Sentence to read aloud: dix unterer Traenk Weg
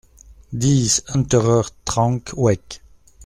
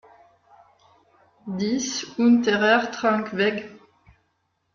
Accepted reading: second